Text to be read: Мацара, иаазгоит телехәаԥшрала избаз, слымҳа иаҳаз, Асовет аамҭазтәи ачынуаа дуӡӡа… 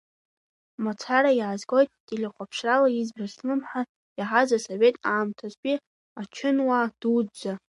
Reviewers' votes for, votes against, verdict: 2, 1, accepted